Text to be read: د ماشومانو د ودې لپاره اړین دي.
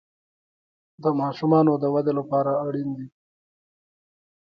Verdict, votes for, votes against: rejected, 1, 2